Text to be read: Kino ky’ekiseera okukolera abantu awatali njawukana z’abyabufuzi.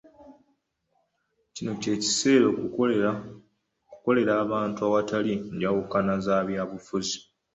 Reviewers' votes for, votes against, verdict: 1, 2, rejected